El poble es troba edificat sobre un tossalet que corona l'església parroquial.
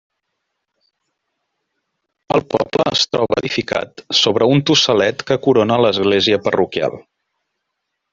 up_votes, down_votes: 1, 2